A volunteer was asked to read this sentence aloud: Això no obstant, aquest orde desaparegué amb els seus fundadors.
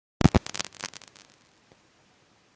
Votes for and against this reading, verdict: 0, 2, rejected